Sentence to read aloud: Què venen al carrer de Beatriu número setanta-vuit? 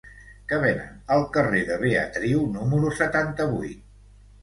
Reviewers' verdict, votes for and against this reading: rejected, 1, 2